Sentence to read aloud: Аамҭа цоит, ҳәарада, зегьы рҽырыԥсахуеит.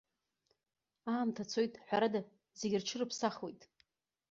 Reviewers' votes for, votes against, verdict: 2, 0, accepted